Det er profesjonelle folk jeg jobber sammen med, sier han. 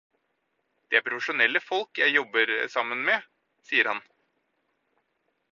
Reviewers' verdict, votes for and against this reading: accepted, 4, 0